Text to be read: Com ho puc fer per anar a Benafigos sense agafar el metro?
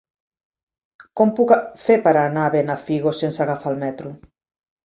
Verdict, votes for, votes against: rejected, 0, 2